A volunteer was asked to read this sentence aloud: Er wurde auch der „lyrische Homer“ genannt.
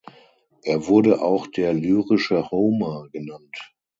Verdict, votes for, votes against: rejected, 0, 6